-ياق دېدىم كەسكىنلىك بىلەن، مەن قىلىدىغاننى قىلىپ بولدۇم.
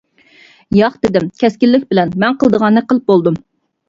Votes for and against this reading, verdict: 2, 0, accepted